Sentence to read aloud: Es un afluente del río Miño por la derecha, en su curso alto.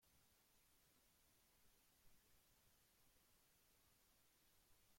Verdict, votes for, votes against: rejected, 0, 2